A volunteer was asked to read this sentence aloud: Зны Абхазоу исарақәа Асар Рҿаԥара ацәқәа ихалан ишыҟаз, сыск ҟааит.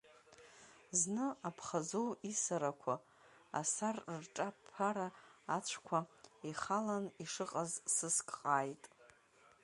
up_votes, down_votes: 0, 2